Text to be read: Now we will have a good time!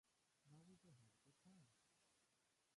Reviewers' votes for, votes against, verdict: 0, 2, rejected